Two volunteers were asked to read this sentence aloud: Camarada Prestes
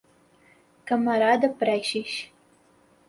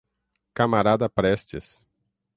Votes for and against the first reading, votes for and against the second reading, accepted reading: 2, 2, 6, 3, second